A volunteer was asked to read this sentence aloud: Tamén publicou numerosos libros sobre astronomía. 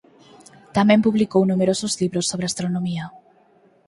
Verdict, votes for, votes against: accepted, 6, 0